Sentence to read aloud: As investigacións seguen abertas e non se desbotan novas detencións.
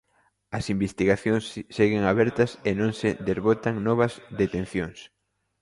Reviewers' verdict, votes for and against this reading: rejected, 1, 2